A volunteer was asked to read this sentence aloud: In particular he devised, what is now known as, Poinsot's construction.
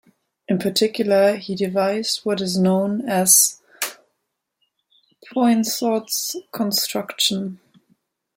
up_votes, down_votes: 2, 1